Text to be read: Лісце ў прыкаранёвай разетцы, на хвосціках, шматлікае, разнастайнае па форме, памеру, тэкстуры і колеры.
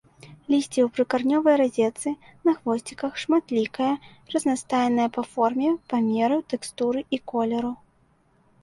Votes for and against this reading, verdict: 0, 2, rejected